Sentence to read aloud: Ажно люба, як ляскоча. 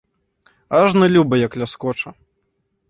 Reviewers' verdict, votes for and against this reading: accepted, 2, 0